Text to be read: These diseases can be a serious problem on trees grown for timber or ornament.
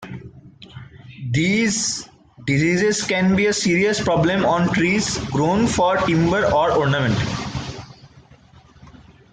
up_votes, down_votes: 2, 0